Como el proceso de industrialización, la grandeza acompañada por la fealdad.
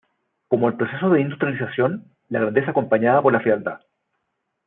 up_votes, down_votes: 2, 1